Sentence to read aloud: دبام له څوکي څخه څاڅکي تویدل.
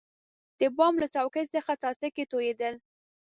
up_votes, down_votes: 1, 2